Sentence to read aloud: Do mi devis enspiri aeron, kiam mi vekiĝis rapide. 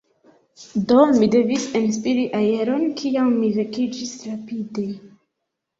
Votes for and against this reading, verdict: 1, 2, rejected